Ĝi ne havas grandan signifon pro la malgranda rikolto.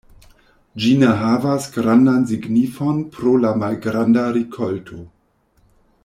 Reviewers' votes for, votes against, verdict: 1, 2, rejected